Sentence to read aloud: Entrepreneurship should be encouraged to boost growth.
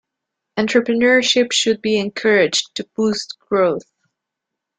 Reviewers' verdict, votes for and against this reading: accepted, 2, 0